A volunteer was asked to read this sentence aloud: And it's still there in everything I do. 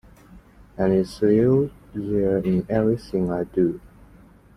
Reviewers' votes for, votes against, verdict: 2, 1, accepted